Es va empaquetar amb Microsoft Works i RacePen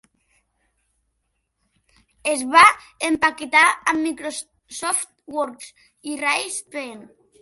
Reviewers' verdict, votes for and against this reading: rejected, 1, 2